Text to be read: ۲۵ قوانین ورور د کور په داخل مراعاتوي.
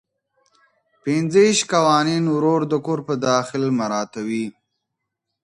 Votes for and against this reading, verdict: 0, 2, rejected